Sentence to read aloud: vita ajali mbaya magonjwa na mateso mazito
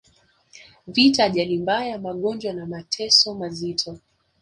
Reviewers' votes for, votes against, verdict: 2, 0, accepted